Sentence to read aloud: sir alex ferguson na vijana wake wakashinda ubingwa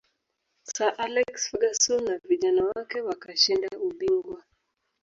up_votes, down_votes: 1, 2